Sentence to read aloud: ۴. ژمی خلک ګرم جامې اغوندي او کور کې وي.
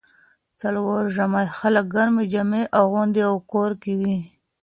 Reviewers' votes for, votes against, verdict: 0, 2, rejected